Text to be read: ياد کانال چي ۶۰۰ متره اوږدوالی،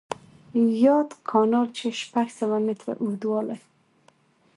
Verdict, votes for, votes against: rejected, 0, 2